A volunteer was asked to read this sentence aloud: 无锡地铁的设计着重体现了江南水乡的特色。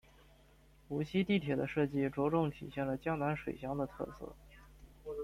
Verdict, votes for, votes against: accepted, 2, 0